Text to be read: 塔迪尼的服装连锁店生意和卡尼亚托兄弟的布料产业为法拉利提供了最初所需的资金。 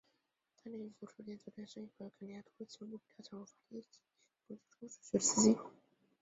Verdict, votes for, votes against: rejected, 0, 2